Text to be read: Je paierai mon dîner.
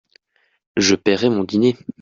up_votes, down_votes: 2, 0